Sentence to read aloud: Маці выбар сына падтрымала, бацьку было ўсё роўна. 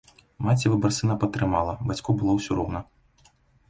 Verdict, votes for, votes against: accepted, 2, 0